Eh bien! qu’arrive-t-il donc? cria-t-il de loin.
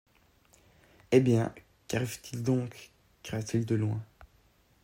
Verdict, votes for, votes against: accepted, 2, 0